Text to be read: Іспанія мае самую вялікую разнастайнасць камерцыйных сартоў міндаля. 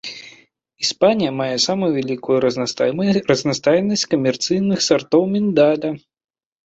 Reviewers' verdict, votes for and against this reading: rejected, 1, 2